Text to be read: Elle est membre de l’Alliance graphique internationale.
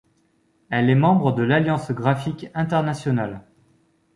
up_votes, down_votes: 2, 0